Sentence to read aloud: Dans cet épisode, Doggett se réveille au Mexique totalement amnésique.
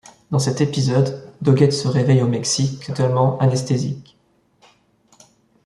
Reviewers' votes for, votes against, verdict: 1, 2, rejected